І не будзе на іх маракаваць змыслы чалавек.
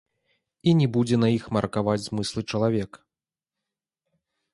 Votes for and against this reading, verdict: 0, 2, rejected